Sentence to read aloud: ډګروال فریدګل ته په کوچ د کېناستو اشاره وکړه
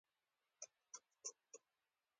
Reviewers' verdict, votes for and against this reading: rejected, 1, 2